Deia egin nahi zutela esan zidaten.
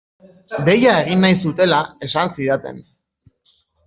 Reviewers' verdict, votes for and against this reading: rejected, 0, 2